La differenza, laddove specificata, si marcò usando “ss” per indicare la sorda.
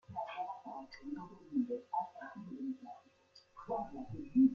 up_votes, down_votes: 1, 2